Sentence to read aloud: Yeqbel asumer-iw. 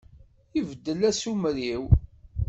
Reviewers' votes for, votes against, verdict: 1, 2, rejected